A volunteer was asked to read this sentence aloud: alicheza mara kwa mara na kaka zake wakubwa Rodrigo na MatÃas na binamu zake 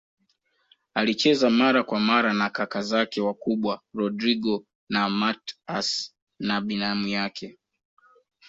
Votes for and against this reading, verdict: 0, 2, rejected